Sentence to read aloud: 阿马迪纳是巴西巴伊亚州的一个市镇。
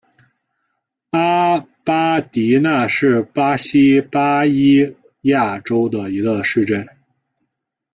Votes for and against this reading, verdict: 2, 1, accepted